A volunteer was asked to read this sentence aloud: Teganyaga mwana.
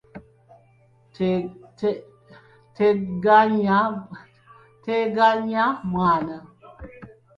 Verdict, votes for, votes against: rejected, 0, 3